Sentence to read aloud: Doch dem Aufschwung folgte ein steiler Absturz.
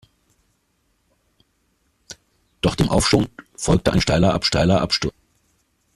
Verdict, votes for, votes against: rejected, 0, 2